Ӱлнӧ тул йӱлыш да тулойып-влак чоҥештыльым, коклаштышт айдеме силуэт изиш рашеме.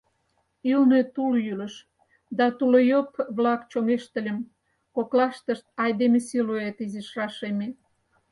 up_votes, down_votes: 4, 2